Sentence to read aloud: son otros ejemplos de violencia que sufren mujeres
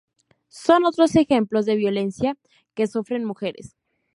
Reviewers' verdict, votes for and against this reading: accepted, 4, 0